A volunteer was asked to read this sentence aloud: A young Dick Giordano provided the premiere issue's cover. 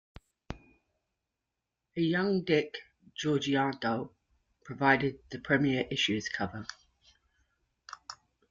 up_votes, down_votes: 0, 2